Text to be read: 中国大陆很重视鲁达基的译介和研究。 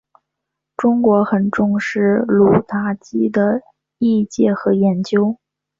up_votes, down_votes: 4, 0